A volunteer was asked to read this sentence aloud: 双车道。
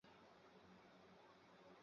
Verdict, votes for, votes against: rejected, 1, 3